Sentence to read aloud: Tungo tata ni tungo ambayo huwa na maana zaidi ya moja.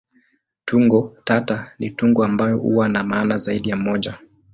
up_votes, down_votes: 16, 1